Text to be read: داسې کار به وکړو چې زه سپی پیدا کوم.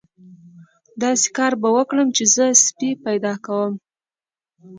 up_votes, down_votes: 2, 0